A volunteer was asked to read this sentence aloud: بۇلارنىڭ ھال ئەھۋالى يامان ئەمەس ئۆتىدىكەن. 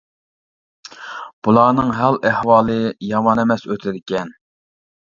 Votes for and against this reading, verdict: 2, 1, accepted